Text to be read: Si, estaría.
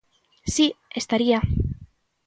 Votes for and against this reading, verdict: 2, 0, accepted